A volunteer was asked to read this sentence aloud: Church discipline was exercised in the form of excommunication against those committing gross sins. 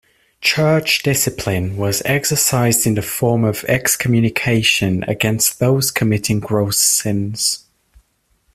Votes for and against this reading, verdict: 2, 0, accepted